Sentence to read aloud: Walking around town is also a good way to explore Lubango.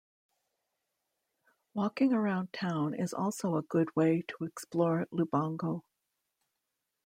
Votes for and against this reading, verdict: 2, 0, accepted